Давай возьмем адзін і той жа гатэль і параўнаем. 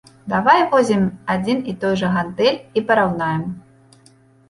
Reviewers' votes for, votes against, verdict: 0, 2, rejected